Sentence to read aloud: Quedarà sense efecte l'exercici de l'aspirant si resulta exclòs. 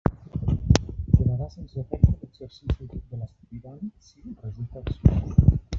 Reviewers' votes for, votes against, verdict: 1, 2, rejected